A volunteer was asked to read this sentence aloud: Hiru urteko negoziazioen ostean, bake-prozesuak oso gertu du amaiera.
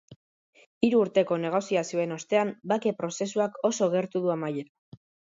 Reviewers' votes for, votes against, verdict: 1, 2, rejected